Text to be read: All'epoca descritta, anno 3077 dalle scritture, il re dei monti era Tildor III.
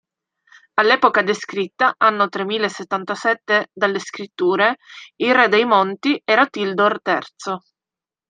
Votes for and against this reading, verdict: 0, 2, rejected